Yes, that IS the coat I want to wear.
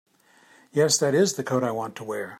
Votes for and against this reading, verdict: 2, 0, accepted